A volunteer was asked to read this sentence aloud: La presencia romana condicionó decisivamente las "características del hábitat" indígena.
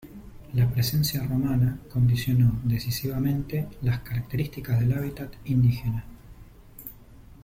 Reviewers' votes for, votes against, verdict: 1, 2, rejected